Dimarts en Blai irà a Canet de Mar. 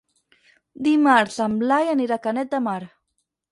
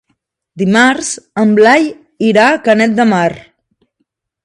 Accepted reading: second